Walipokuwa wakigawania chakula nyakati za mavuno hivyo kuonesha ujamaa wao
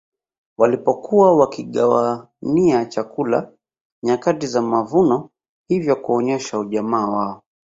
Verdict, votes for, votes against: rejected, 1, 2